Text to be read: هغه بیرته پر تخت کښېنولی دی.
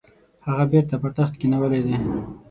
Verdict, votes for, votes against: rejected, 3, 6